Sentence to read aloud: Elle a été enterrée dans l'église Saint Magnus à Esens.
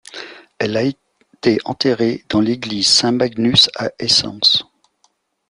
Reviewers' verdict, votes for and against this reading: accepted, 2, 0